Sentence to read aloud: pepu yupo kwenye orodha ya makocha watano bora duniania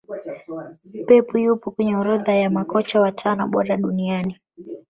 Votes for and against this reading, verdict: 1, 2, rejected